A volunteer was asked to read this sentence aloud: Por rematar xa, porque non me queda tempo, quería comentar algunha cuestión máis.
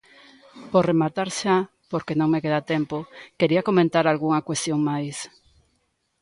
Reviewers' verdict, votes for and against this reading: accepted, 2, 0